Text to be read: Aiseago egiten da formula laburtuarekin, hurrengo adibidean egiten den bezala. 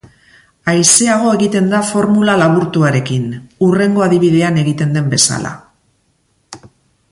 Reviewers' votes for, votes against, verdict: 2, 0, accepted